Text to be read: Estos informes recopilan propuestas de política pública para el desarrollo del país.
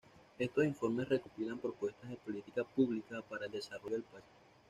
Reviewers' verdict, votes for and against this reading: rejected, 0, 2